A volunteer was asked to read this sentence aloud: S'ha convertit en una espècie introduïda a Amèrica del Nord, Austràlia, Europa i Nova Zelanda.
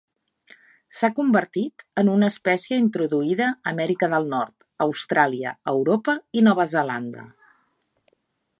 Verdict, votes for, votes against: accepted, 3, 0